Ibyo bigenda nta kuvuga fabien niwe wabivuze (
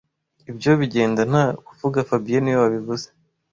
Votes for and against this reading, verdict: 2, 0, accepted